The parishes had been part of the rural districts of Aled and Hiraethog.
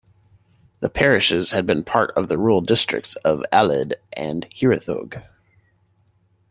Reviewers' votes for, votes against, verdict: 2, 1, accepted